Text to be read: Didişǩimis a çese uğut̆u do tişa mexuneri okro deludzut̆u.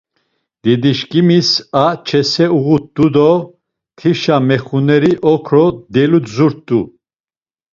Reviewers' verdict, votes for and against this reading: accepted, 2, 0